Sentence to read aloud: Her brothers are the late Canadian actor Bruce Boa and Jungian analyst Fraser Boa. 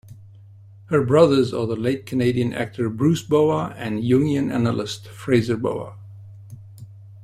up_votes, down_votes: 2, 0